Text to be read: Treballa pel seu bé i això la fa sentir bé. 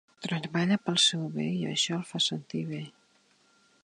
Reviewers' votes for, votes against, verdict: 1, 2, rejected